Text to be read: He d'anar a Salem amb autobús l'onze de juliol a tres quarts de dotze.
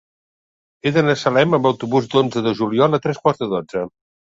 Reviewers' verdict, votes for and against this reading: accepted, 2, 1